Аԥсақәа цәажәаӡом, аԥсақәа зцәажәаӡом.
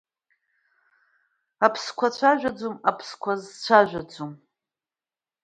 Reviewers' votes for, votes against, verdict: 0, 2, rejected